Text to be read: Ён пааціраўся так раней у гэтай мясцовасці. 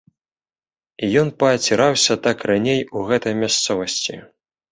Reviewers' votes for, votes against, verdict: 2, 0, accepted